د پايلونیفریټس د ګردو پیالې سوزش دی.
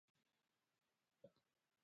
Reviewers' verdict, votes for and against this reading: rejected, 1, 2